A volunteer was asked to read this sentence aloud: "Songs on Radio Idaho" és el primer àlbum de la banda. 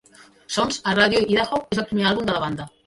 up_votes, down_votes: 0, 2